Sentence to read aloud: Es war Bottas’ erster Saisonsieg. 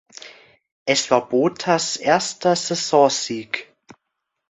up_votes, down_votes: 2, 0